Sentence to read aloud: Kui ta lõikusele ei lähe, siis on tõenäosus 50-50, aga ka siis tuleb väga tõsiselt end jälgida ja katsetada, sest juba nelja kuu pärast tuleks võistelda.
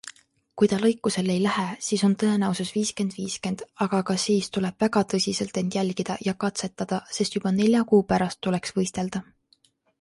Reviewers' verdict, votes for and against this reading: rejected, 0, 2